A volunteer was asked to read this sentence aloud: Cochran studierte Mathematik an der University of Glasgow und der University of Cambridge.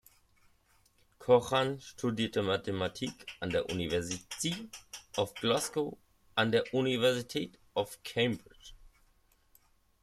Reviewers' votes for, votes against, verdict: 0, 2, rejected